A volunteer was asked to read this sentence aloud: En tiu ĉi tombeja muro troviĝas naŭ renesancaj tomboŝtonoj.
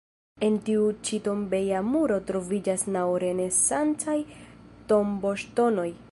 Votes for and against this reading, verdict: 1, 2, rejected